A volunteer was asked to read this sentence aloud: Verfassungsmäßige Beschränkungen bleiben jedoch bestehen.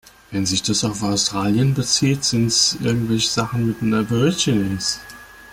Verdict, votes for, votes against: rejected, 0, 2